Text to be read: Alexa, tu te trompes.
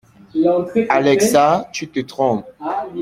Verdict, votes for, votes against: accepted, 2, 1